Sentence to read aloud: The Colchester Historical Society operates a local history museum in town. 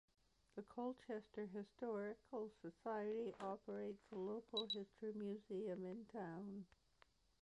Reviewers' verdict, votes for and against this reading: accepted, 2, 1